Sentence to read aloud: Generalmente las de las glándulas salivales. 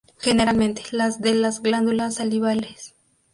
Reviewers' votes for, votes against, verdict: 2, 0, accepted